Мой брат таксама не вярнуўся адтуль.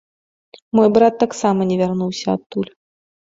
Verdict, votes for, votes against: accepted, 2, 0